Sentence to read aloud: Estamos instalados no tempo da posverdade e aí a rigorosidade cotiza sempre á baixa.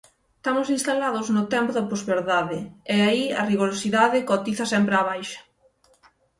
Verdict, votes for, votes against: rejected, 3, 6